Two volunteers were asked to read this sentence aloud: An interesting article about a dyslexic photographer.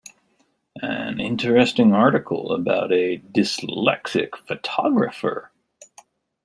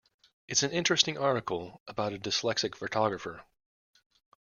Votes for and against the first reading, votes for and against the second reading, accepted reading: 2, 0, 1, 2, first